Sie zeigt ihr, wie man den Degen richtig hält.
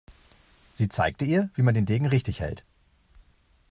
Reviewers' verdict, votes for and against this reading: rejected, 1, 2